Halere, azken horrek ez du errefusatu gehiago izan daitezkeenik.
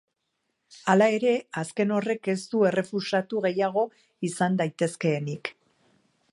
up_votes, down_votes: 1, 2